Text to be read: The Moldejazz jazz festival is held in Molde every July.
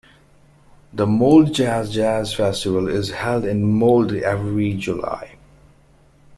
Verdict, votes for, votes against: accepted, 2, 1